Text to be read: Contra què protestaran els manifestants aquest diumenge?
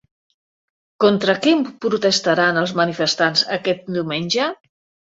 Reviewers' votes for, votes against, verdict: 0, 2, rejected